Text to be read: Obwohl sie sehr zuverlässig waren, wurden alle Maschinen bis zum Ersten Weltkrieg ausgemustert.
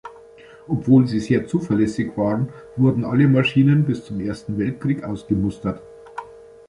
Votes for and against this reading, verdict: 1, 2, rejected